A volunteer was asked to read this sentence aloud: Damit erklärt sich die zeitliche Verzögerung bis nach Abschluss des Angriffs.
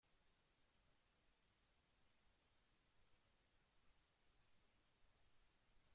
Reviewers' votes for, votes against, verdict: 0, 2, rejected